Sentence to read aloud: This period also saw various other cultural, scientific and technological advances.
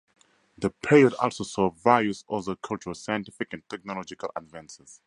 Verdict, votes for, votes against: accepted, 4, 2